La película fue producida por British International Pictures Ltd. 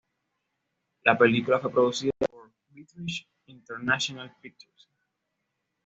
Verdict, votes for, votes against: accepted, 2, 0